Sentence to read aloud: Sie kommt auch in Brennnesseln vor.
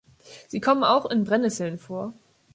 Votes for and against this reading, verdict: 0, 2, rejected